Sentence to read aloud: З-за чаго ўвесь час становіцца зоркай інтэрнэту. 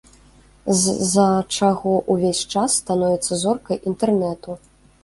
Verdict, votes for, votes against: rejected, 1, 2